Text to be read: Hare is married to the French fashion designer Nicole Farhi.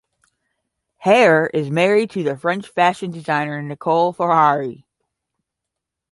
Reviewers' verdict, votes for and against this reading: rejected, 5, 5